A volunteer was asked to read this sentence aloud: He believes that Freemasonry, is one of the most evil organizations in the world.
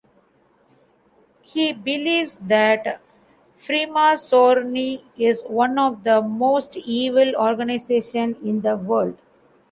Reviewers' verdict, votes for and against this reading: rejected, 1, 2